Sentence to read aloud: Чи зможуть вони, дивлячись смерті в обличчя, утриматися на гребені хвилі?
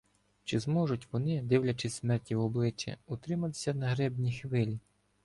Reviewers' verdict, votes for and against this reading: rejected, 0, 2